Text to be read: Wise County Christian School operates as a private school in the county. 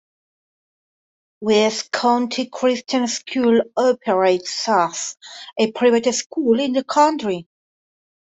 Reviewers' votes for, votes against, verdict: 1, 2, rejected